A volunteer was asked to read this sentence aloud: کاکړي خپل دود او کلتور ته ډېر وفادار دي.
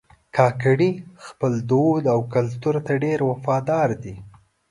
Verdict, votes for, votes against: accepted, 2, 1